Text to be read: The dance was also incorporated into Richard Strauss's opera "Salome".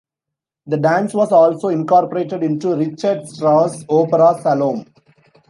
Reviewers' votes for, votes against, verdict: 0, 2, rejected